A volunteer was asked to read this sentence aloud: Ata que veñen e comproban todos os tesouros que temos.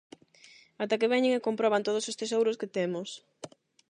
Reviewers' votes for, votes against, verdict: 8, 0, accepted